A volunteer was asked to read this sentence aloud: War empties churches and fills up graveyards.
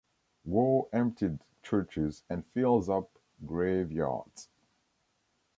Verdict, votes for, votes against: rejected, 1, 2